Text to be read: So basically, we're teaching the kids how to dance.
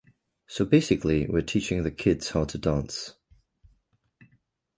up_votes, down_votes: 2, 0